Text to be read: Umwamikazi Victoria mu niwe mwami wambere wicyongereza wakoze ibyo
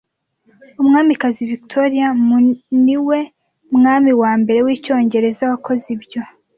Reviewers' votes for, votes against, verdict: 0, 2, rejected